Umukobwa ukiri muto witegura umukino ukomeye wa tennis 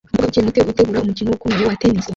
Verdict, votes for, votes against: rejected, 1, 2